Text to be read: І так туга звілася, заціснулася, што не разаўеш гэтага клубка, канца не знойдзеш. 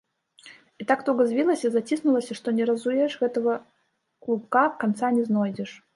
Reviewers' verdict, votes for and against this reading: rejected, 0, 2